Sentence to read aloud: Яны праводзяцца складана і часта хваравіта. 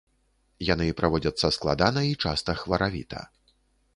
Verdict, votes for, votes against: accepted, 2, 0